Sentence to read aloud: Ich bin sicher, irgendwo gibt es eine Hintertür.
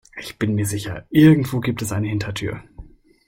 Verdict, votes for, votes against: rejected, 1, 2